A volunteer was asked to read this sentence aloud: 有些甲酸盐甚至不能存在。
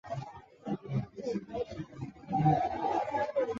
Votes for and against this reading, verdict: 0, 4, rejected